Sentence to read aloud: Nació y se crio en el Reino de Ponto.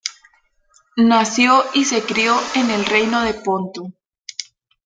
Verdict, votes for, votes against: accepted, 2, 0